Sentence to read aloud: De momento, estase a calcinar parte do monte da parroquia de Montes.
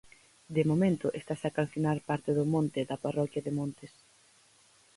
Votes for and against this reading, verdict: 4, 0, accepted